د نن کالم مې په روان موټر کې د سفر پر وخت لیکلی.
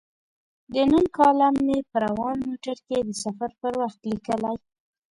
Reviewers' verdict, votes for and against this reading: rejected, 0, 2